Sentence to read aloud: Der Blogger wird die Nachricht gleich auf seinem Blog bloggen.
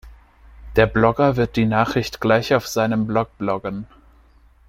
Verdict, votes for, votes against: accepted, 2, 0